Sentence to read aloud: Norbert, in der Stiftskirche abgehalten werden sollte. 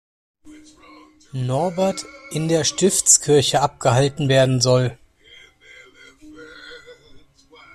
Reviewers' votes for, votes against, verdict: 0, 2, rejected